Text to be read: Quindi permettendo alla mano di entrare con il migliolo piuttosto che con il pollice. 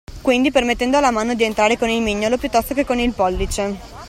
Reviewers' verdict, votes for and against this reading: accepted, 2, 0